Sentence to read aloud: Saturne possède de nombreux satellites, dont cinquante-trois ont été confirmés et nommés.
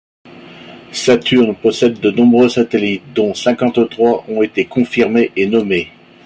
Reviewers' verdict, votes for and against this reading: accepted, 2, 0